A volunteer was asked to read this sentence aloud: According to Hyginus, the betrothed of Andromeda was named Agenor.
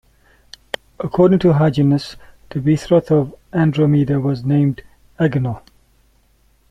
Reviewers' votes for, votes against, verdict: 1, 2, rejected